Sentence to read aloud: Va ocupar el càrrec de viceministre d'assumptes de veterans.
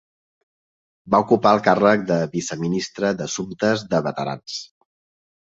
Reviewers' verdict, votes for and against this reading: accepted, 3, 0